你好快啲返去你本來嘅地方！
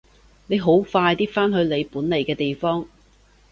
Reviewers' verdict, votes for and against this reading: accepted, 2, 0